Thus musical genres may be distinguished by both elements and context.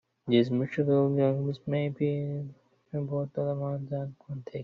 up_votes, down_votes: 0, 2